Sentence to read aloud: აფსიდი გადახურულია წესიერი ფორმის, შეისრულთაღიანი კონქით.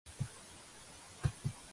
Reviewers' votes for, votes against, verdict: 1, 2, rejected